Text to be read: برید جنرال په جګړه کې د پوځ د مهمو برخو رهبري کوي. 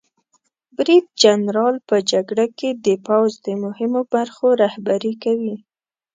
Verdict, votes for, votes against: accepted, 2, 0